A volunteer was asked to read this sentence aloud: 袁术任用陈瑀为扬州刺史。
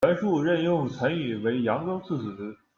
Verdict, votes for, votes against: accepted, 2, 0